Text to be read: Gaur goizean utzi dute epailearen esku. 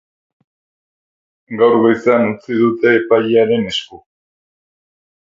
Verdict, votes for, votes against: accepted, 4, 0